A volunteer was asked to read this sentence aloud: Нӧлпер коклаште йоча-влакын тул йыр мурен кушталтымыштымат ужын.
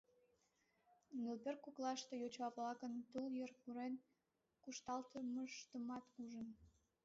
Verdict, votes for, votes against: rejected, 0, 2